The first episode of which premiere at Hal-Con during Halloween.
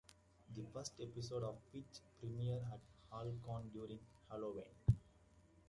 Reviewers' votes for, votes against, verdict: 0, 2, rejected